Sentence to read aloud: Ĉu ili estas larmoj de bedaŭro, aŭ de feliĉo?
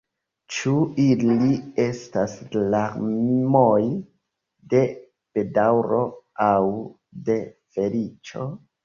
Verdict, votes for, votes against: rejected, 0, 2